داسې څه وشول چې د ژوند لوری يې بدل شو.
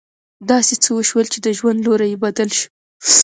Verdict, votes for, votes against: accepted, 2, 1